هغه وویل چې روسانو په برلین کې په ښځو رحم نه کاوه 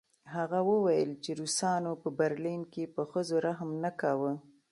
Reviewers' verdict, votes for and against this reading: accepted, 2, 1